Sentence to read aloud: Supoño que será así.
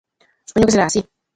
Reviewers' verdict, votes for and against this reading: rejected, 0, 2